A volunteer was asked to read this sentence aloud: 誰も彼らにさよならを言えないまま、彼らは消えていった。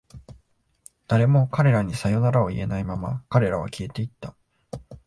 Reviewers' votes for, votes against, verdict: 4, 0, accepted